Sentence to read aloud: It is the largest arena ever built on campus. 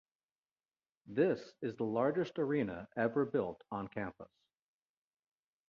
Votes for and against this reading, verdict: 0, 2, rejected